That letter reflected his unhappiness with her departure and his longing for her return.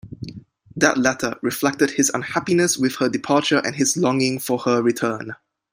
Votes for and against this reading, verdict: 2, 1, accepted